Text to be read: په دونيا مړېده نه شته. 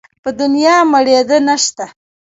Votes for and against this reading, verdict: 2, 0, accepted